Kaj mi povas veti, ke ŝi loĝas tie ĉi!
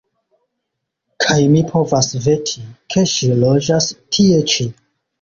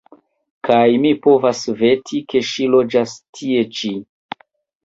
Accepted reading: first